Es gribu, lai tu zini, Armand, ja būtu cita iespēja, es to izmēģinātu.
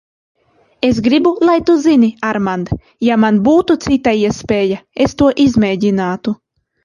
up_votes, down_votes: 0, 2